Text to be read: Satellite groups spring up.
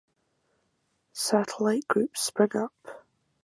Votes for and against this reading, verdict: 4, 4, rejected